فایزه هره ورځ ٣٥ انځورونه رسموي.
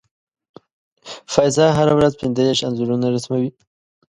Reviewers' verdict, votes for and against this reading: rejected, 0, 2